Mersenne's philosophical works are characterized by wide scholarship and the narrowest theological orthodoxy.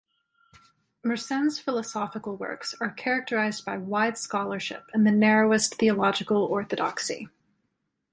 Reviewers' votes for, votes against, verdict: 2, 0, accepted